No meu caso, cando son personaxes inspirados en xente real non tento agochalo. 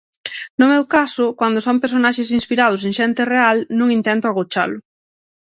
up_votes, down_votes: 0, 6